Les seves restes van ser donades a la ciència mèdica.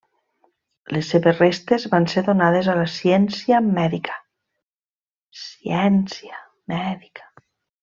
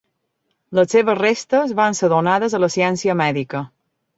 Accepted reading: second